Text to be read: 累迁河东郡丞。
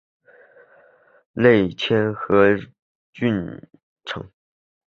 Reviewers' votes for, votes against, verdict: 2, 4, rejected